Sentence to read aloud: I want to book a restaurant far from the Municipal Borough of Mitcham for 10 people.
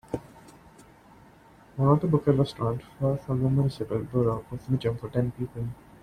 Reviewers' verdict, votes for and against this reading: rejected, 0, 2